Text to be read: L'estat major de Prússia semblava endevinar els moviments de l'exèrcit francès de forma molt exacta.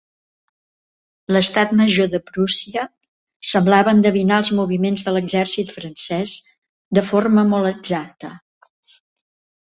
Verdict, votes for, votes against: accepted, 3, 0